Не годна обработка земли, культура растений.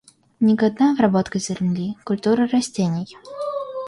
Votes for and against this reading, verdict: 0, 2, rejected